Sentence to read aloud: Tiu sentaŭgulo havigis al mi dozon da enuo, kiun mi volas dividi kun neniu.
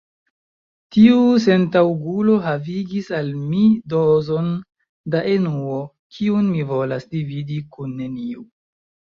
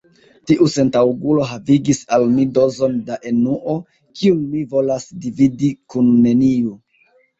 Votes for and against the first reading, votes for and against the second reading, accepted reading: 0, 2, 2, 0, second